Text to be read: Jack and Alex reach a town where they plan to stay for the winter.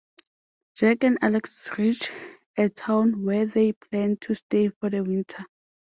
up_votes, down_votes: 2, 0